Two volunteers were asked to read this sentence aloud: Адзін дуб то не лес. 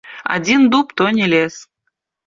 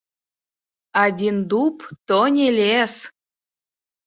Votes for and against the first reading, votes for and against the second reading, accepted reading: 2, 1, 1, 3, first